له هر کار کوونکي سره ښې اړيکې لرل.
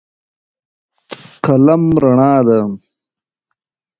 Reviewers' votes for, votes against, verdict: 1, 2, rejected